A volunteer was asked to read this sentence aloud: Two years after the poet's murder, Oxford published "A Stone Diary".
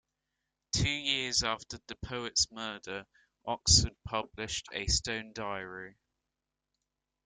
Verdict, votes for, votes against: accepted, 2, 0